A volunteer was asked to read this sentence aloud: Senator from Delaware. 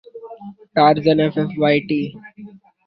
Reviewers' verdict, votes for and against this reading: rejected, 0, 2